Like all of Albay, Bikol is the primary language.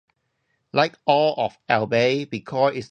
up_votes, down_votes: 0, 2